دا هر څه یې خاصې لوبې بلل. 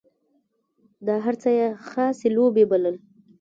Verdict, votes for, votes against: rejected, 1, 2